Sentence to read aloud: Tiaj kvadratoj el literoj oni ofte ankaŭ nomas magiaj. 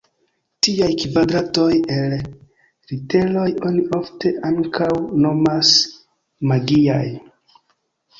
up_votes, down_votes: 2, 0